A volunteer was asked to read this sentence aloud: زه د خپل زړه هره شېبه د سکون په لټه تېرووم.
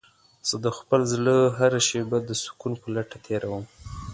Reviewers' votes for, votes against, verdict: 2, 0, accepted